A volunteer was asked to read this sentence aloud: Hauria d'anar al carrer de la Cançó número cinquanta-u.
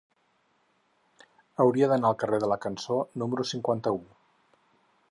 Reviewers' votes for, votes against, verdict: 4, 0, accepted